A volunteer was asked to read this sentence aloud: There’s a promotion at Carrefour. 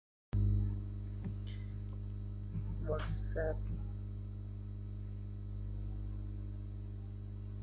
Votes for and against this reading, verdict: 0, 2, rejected